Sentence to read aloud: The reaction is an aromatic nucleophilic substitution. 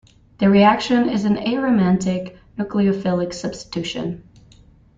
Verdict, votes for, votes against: rejected, 0, 2